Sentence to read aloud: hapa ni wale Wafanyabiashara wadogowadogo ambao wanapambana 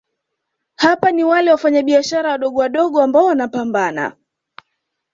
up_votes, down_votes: 2, 0